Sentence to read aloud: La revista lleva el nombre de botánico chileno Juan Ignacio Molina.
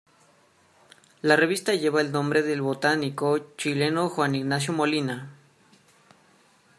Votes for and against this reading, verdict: 2, 1, accepted